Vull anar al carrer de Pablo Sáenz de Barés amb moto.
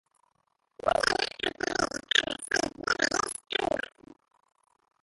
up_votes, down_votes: 1, 2